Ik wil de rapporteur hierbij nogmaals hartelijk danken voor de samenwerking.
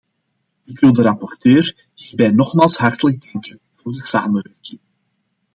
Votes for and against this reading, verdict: 0, 2, rejected